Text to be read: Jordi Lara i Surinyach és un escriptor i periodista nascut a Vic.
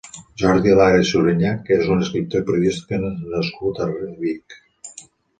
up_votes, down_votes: 1, 2